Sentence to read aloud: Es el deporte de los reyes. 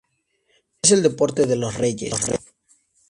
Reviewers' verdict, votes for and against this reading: rejected, 0, 2